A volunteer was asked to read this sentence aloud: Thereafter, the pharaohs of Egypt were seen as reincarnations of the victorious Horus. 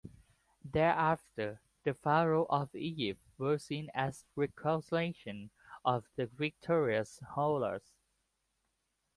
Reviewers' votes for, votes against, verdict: 2, 0, accepted